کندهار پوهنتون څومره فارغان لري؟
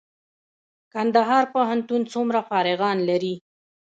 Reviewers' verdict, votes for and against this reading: rejected, 1, 2